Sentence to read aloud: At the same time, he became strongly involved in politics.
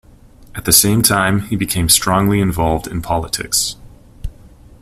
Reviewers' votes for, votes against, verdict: 2, 0, accepted